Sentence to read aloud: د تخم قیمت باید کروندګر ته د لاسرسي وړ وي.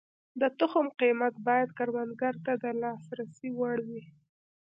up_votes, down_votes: 0, 2